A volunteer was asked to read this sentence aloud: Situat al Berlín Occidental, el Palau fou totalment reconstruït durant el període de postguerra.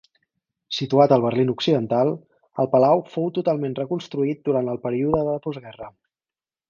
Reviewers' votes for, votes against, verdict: 2, 4, rejected